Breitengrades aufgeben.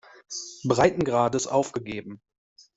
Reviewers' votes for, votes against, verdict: 1, 2, rejected